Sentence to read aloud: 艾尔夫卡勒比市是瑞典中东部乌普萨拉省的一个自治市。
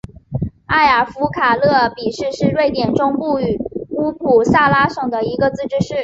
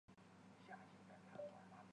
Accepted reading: first